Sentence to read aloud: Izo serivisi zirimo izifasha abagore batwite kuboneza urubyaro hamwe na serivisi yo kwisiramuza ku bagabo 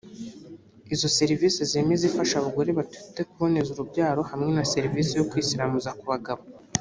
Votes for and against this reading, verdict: 0, 2, rejected